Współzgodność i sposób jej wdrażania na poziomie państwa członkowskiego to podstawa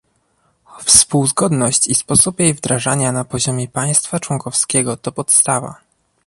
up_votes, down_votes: 2, 0